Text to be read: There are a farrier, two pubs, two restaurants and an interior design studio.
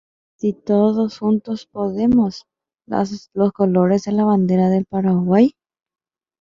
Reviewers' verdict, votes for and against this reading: rejected, 0, 2